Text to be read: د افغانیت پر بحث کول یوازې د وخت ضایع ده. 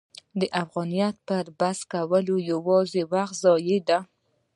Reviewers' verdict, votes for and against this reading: rejected, 1, 2